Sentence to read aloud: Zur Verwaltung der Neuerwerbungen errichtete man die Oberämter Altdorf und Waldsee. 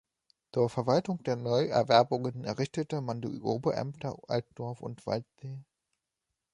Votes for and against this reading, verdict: 0, 2, rejected